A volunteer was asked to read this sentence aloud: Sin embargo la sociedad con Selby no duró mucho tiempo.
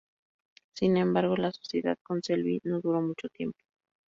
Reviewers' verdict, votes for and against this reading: accepted, 2, 0